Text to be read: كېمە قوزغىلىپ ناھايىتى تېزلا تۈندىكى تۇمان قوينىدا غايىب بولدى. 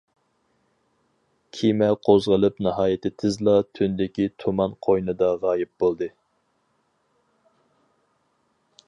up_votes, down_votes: 4, 0